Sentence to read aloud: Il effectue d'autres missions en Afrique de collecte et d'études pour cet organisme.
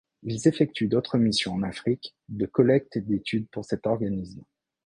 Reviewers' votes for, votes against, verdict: 1, 2, rejected